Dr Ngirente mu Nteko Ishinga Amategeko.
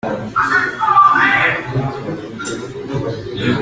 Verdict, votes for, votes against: rejected, 0, 2